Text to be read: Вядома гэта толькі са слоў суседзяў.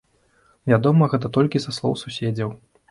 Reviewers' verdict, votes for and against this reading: accepted, 2, 0